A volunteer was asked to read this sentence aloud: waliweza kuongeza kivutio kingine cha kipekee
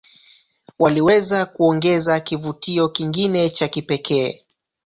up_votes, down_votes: 0, 2